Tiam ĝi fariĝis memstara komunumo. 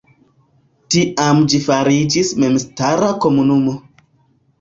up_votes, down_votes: 0, 2